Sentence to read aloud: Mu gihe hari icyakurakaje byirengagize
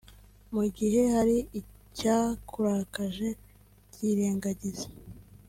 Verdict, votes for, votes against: accepted, 2, 0